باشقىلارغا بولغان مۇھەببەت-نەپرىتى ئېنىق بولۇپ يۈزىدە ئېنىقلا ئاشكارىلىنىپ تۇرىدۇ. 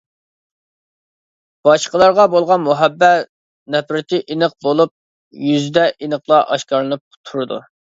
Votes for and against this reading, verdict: 2, 0, accepted